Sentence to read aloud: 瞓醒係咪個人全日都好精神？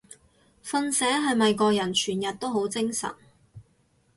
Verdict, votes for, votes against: accepted, 4, 0